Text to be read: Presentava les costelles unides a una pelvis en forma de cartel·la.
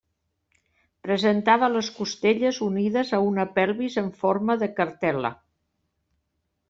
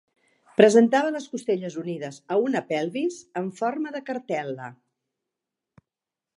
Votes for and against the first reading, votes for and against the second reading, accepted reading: 1, 2, 4, 0, second